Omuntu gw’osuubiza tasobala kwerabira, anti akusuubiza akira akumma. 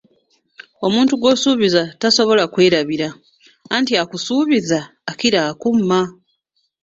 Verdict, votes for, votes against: accepted, 2, 0